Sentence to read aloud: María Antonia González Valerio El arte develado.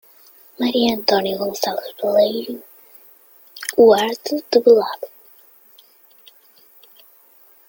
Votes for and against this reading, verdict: 1, 2, rejected